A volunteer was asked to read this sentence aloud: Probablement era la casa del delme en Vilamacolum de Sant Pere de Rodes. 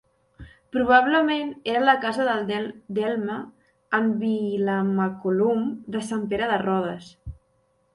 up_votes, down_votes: 0, 2